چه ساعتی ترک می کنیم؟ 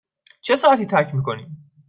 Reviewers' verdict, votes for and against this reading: accepted, 2, 0